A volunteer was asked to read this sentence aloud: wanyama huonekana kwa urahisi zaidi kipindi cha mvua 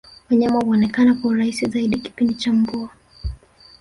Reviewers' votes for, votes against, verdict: 2, 0, accepted